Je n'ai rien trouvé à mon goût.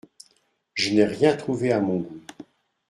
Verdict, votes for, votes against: accepted, 2, 0